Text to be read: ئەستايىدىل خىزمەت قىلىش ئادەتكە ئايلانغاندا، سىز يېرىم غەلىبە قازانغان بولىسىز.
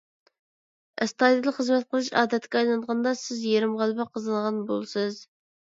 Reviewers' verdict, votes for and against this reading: accepted, 2, 0